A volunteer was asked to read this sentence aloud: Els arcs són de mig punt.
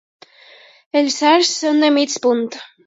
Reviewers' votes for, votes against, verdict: 2, 0, accepted